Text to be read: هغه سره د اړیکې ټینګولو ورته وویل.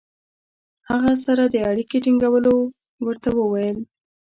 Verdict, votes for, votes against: accepted, 2, 0